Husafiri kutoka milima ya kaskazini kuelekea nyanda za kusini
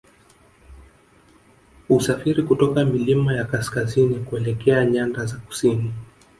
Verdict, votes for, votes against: accepted, 7, 0